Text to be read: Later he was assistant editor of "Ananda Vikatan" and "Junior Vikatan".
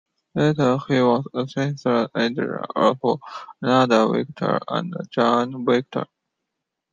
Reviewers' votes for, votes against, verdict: 0, 2, rejected